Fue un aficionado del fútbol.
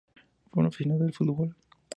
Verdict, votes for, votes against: rejected, 0, 2